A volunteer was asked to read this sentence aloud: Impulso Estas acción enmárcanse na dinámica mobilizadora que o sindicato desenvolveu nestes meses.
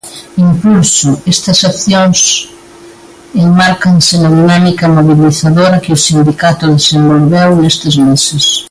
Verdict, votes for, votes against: rejected, 0, 2